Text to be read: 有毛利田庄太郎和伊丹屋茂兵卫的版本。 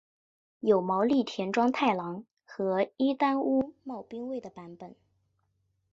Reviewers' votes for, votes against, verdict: 3, 0, accepted